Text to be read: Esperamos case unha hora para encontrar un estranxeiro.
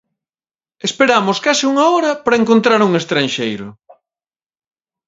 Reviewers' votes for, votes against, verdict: 1, 2, rejected